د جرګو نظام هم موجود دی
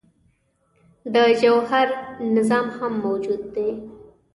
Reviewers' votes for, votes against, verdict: 1, 2, rejected